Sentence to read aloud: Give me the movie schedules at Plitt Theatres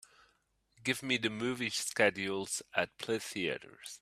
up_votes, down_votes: 1, 2